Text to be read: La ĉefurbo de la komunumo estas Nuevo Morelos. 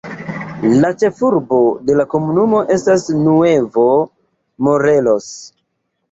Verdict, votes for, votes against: accepted, 2, 1